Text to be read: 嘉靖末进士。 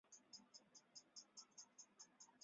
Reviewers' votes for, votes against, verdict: 0, 3, rejected